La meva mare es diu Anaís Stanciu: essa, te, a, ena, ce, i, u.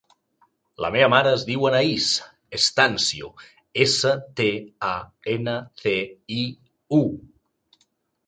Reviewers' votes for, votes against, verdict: 2, 1, accepted